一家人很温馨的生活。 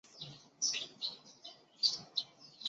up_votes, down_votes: 0, 2